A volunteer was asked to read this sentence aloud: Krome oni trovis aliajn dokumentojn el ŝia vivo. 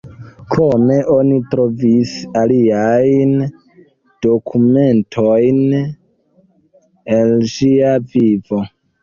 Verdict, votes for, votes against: rejected, 0, 2